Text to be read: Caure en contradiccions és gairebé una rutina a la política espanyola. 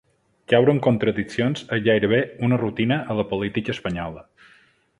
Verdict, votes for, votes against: accepted, 2, 0